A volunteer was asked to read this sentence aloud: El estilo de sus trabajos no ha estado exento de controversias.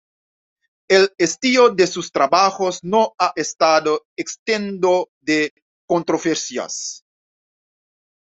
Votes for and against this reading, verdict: 1, 2, rejected